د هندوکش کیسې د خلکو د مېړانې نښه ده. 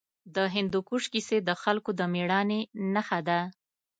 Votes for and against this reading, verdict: 2, 0, accepted